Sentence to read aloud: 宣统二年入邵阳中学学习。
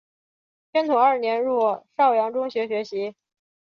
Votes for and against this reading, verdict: 2, 0, accepted